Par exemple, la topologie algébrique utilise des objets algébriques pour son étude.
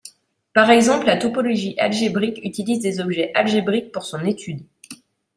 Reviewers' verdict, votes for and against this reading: accepted, 2, 0